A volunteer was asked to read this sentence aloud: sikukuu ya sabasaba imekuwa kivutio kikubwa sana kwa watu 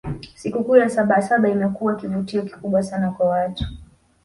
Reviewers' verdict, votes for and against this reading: rejected, 1, 2